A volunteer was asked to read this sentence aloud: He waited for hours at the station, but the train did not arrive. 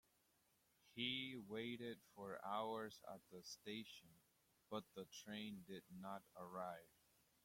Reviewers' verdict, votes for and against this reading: accepted, 2, 0